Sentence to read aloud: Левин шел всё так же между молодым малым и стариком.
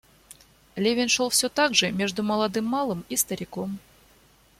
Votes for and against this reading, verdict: 2, 0, accepted